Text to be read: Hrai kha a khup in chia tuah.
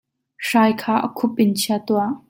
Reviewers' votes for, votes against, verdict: 2, 0, accepted